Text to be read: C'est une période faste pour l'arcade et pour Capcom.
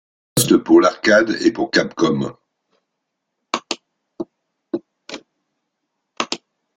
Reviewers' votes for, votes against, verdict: 0, 2, rejected